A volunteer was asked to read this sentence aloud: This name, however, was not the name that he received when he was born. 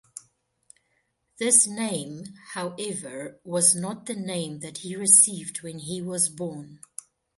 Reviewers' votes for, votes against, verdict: 2, 1, accepted